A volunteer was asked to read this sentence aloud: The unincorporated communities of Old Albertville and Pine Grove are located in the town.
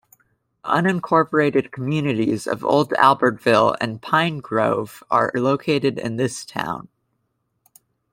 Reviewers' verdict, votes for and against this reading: rejected, 0, 2